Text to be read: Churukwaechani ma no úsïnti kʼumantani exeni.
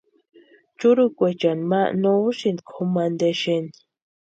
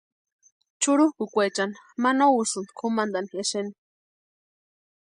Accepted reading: first